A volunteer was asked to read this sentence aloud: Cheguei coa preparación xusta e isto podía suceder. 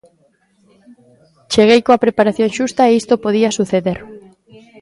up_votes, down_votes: 2, 0